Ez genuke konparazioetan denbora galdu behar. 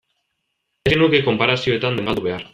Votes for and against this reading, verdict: 0, 2, rejected